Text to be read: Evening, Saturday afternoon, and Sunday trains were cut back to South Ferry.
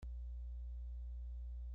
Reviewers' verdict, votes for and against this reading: rejected, 0, 2